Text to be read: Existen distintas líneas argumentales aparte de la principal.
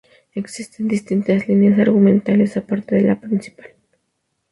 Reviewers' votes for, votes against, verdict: 2, 0, accepted